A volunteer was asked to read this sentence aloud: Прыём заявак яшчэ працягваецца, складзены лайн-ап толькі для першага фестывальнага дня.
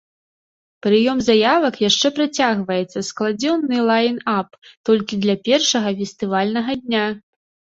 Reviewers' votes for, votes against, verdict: 1, 2, rejected